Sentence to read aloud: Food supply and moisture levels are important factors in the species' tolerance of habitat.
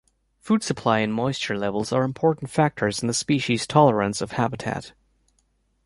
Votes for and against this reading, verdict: 3, 0, accepted